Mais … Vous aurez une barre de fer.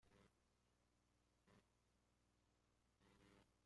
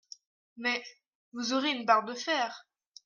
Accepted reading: second